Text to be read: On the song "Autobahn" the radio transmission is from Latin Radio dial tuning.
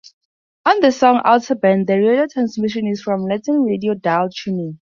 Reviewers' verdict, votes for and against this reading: rejected, 0, 2